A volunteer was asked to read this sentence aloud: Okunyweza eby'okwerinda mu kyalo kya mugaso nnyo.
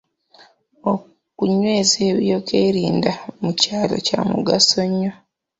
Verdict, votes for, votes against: rejected, 1, 2